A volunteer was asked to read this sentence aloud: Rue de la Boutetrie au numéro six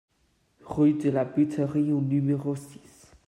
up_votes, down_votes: 0, 2